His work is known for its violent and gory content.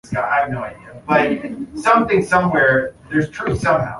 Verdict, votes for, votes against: rejected, 0, 2